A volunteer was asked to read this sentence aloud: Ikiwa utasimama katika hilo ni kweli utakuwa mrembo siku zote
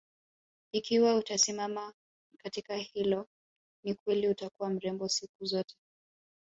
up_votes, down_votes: 2, 0